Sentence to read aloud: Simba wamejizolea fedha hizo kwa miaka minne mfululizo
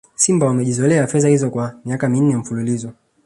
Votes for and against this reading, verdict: 2, 0, accepted